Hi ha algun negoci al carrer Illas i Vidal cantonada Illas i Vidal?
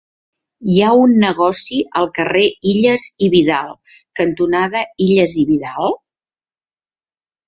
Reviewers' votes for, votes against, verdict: 1, 2, rejected